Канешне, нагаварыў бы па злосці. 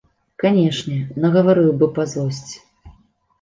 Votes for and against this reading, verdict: 2, 0, accepted